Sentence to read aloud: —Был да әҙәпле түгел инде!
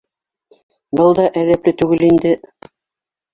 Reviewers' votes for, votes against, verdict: 2, 1, accepted